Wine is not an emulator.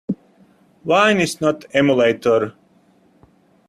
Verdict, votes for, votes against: rejected, 0, 2